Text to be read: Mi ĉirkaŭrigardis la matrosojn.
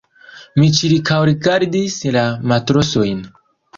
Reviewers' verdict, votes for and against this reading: rejected, 0, 2